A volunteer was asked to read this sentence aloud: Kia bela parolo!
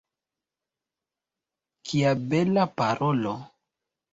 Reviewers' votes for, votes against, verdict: 0, 2, rejected